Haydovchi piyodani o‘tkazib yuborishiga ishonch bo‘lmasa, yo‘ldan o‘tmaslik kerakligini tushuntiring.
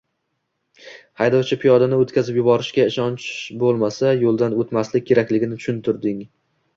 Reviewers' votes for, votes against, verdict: 1, 2, rejected